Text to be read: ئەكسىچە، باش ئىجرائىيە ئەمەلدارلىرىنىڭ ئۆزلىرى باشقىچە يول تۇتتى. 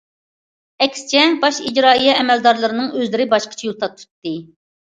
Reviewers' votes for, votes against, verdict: 0, 2, rejected